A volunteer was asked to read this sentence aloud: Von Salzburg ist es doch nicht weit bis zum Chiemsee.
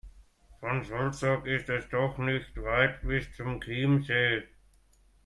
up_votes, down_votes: 2, 1